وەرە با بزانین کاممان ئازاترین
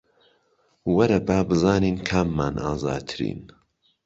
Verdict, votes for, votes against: accepted, 3, 0